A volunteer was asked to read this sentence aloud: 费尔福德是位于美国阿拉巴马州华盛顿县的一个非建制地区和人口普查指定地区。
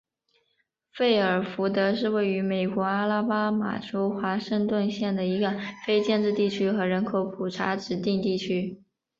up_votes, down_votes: 1, 2